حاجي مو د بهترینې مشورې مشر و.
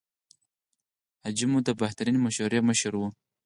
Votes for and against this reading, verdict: 4, 0, accepted